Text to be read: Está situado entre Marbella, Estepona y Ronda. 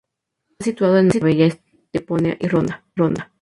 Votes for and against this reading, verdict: 0, 2, rejected